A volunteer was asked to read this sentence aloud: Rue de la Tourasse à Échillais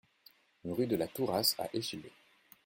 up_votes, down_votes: 2, 0